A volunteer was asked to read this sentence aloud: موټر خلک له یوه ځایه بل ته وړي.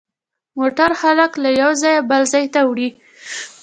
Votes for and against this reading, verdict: 2, 0, accepted